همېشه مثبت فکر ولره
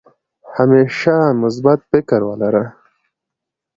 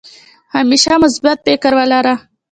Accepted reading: first